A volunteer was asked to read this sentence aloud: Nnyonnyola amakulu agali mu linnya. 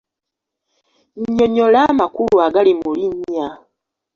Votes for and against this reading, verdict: 2, 3, rejected